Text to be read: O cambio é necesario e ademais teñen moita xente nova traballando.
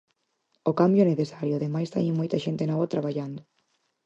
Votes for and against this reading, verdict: 4, 0, accepted